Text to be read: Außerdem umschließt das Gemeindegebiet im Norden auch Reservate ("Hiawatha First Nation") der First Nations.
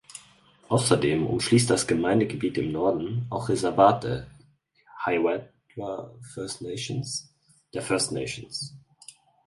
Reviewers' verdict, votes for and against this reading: rejected, 0, 4